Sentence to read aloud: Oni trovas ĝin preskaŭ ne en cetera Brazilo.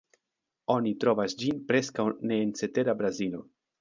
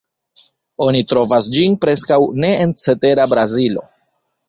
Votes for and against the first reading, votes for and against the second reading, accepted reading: 2, 3, 3, 0, second